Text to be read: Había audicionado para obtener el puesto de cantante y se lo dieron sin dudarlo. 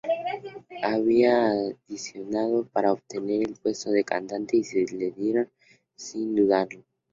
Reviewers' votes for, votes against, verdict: 0, 2, rejected